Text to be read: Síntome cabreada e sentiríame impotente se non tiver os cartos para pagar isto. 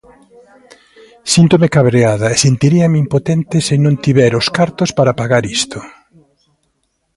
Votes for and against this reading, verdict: 2, 1, accepted